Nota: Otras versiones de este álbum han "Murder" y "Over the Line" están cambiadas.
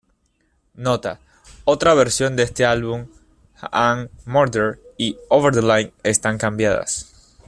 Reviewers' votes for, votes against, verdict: 1, 2, rejected